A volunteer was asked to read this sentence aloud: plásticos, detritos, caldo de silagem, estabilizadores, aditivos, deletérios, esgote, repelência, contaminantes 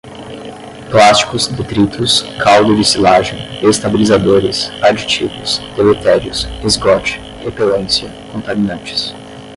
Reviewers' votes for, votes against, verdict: 0, 10, rejected